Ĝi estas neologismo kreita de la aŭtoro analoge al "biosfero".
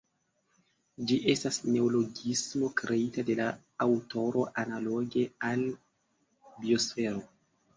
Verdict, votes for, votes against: accepted, 2, 0